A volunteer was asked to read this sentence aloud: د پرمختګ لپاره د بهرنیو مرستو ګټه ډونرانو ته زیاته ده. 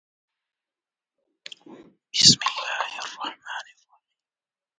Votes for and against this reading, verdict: 0, 2, rejected